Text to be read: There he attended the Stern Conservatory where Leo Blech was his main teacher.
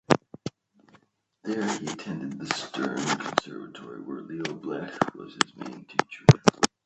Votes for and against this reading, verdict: 1, 2, rejected